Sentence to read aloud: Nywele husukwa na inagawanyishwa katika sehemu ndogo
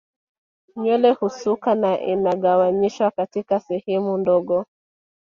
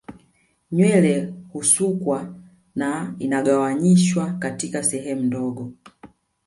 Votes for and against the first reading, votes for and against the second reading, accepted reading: 2, 1, 0, 2, first